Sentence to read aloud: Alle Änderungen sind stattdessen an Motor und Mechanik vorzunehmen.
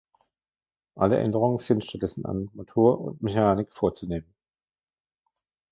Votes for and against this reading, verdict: 2, 1, accepted